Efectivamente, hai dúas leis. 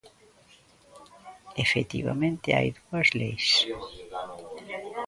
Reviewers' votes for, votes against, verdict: 1, 2, rejected